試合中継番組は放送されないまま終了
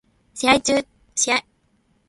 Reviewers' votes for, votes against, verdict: 0, 2, rejected